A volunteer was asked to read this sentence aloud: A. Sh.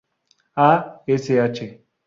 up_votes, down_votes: 0, 2